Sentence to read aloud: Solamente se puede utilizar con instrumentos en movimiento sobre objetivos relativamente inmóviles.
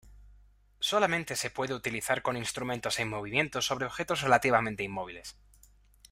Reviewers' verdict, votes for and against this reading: accepted, 2, 0